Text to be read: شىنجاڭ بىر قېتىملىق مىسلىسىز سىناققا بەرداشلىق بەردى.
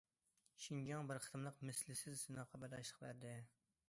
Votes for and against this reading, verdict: 0, 2, rejected